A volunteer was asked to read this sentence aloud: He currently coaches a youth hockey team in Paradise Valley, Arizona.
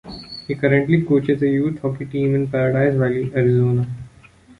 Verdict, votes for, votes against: accepted, 2, 1